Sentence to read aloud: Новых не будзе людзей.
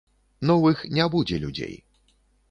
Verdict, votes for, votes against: accepted, 2, 0